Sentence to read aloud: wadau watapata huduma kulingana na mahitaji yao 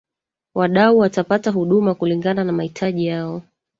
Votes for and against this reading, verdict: 1, 2, rejected